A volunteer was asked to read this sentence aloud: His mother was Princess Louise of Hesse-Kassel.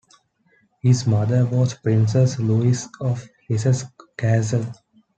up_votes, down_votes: 2, 1